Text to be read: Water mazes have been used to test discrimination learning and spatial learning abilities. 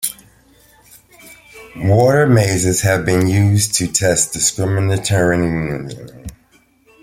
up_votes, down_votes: 1, 2